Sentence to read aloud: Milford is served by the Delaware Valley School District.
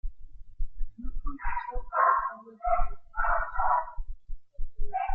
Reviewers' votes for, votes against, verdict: 0, 2, rejected